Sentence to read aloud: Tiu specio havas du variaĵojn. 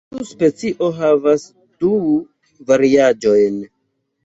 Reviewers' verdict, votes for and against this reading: rejected, 0, 2